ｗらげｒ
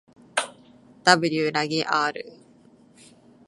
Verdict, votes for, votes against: accepted, 2, 0